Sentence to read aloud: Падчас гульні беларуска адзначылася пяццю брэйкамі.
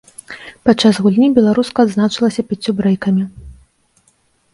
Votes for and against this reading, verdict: 2, 0, accepted